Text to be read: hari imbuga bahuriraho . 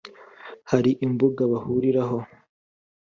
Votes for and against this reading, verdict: 3, 0, accepted